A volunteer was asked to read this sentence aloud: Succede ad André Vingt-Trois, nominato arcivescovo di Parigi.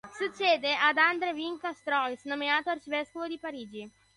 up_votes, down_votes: 0, 2